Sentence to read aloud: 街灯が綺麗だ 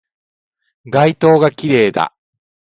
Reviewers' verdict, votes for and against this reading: rejected, 1, 2